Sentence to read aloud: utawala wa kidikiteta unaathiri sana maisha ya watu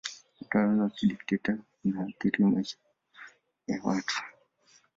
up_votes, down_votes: 1, 2